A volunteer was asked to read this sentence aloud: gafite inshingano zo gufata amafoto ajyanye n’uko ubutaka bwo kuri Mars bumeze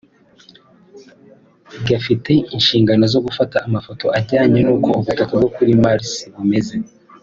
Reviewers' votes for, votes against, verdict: 2, 0, accepted